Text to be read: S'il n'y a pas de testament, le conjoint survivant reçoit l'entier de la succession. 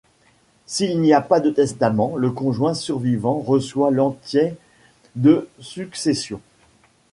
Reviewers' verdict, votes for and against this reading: rejected, 1, 2